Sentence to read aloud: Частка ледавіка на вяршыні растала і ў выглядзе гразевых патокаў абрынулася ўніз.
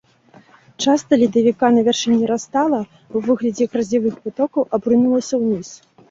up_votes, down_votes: 1, 2